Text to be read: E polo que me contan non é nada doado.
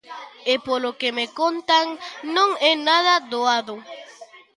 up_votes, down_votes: 2, 0